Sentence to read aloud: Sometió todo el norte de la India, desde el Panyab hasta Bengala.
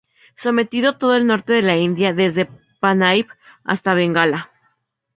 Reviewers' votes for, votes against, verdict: 0, 2, rejected